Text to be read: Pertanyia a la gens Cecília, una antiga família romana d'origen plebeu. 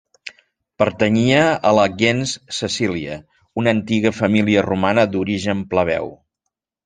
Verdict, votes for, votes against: rejected, 1, 2